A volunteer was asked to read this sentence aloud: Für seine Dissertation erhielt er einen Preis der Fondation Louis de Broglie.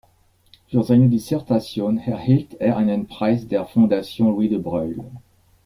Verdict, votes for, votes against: accepted, 2, 0